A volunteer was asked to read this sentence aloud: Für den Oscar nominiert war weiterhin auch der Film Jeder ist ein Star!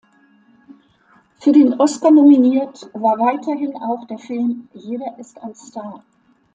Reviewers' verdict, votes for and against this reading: accepted, 3, 0